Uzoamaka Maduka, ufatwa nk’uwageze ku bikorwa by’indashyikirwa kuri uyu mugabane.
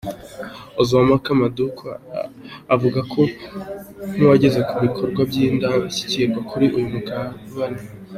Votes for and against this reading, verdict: 1, 2, rejected